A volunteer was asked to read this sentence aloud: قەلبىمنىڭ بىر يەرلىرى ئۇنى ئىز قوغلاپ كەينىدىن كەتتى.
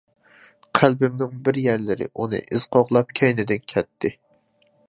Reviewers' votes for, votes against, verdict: 2, 0, accepted